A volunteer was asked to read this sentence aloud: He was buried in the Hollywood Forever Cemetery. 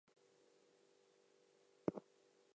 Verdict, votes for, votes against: rejected, 0, 2